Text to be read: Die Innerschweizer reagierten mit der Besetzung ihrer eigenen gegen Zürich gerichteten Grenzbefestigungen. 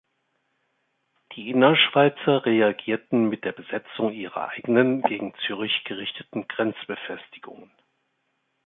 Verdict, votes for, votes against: accepted, 4, 0